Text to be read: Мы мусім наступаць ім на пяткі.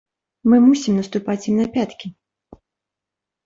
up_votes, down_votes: 2, 0